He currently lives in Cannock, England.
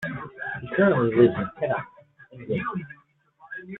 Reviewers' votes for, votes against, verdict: 1, 2, rejected